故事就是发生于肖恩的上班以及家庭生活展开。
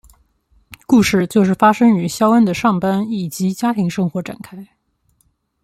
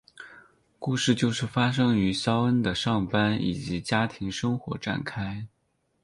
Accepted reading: first